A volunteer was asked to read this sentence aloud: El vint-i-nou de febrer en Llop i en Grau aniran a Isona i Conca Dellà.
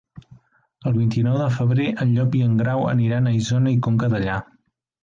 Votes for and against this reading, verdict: 2, 0, accepted